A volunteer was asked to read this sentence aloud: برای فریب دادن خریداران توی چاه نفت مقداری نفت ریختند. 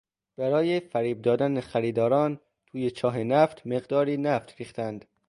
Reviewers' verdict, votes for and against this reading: accepted, 2, 0